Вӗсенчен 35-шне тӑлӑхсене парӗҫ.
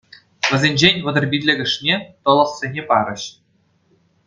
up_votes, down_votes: 0, 2